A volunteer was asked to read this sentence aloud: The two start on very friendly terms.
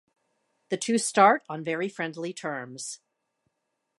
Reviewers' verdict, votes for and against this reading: accepted, 2, 0